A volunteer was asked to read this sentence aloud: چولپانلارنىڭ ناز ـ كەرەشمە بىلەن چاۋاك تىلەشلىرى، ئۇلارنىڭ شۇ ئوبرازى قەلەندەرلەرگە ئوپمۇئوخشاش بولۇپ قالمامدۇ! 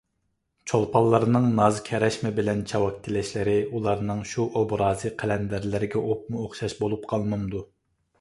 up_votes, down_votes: 3, 0